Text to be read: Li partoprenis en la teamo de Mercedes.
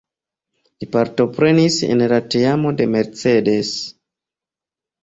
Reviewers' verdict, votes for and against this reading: accepted, 2, 0